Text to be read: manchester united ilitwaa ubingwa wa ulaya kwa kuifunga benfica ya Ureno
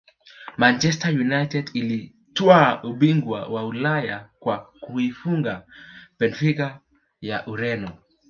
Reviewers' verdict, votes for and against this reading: rejected, 1, 2